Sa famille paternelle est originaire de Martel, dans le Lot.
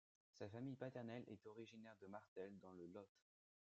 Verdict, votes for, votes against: rejected, 1, 2